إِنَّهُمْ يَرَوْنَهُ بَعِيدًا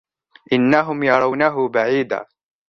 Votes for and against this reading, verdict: 2, 0, accepted